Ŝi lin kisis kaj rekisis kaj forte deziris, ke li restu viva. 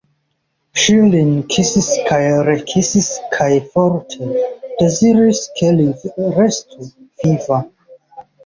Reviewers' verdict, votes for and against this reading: rejected, 1, 4